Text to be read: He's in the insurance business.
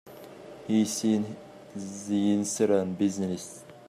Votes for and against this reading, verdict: 0, 2, rejected